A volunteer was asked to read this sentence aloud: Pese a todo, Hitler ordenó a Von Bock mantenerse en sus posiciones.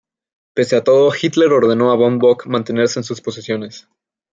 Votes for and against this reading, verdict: 2, 0, accepted